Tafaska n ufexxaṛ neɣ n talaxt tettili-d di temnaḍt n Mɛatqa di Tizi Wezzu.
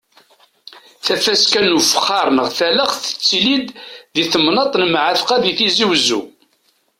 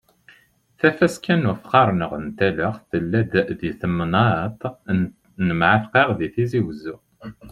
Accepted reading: first